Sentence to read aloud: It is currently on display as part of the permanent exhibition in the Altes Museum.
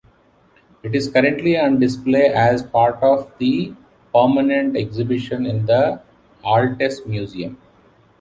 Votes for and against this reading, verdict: 2, 0, accepted